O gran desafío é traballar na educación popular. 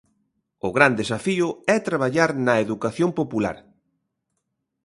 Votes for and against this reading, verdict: 2, 0, accepted